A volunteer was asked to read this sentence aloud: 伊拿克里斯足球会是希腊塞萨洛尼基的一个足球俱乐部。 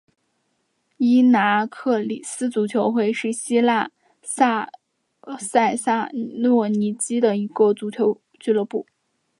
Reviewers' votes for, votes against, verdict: 2, 0, accepted